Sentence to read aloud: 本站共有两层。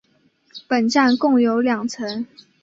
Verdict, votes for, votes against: accepted, 2, 0